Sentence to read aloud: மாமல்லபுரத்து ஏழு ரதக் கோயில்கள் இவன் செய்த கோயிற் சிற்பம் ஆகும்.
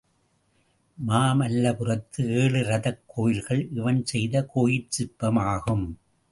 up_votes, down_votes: 2, 0